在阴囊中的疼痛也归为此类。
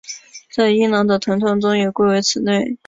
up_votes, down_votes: 6, 2